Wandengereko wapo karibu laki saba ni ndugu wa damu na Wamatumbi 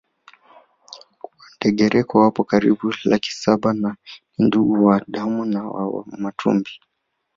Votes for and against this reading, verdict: 0, 2, rejected